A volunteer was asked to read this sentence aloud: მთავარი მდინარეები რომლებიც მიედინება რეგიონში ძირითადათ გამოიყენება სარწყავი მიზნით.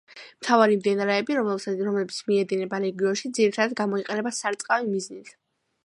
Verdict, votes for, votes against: accepted, 2, 0